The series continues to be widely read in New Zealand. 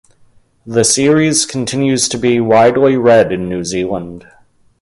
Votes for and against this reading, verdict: 3, 0, accepted